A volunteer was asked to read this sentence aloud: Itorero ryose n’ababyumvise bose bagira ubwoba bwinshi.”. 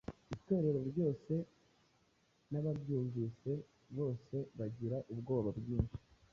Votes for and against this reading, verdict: 2, 0, accepted